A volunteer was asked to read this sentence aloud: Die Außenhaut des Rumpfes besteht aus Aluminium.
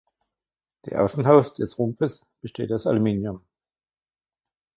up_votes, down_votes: 0, 2